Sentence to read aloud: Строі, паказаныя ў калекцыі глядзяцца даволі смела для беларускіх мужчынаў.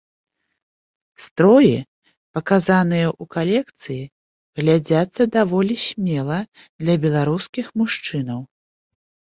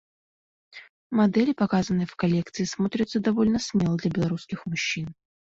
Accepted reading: first